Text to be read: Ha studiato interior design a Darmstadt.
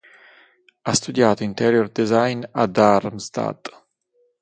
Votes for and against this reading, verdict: 6, 0, accepted